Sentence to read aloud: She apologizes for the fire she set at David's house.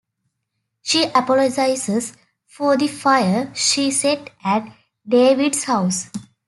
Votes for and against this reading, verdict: 2, 1, accepted